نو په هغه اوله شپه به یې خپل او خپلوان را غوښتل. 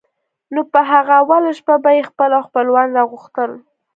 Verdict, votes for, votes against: accepted, 2, 0